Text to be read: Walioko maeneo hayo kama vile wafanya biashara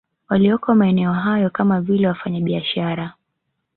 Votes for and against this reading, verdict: 3, 0, accepted